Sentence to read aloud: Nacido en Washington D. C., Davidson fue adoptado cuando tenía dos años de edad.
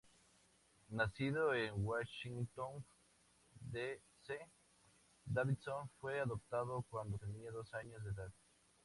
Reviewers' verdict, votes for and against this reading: accepted, 2, 0